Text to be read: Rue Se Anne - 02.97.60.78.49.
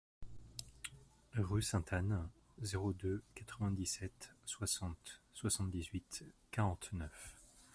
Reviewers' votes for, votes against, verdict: 0, 2, rejected